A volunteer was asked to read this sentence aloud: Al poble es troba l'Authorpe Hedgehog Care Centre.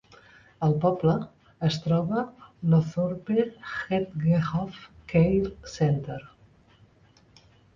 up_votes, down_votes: 1, 2